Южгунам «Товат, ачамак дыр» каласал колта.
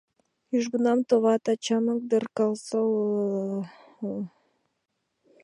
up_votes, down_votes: 0, 2